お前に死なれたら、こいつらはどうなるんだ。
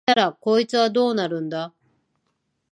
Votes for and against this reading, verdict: 1, 2, rejected